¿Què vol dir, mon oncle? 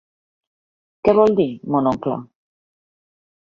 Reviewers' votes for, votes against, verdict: 2, 0, accepted